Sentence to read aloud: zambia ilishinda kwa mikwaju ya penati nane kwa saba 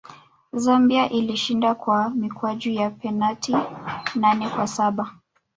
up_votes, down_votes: 1, 2